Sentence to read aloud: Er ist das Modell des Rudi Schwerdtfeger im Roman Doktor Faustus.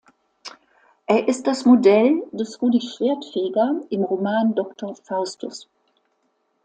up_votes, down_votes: 2, 0